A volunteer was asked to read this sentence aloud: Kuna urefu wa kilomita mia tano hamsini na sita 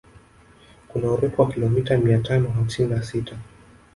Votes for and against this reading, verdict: 1, 2, rejected